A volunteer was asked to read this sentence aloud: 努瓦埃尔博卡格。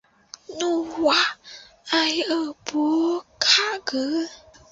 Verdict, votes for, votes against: rejected, 0, 2